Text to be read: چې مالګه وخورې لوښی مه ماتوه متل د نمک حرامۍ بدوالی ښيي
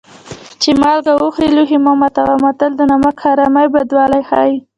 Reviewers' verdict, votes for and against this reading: rejected, 0, 3